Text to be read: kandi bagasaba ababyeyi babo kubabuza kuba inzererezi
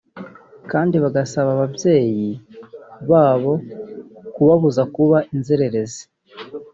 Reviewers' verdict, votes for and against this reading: accepted, 3, 0